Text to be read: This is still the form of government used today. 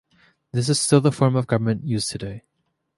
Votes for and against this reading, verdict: 2, 0, accepted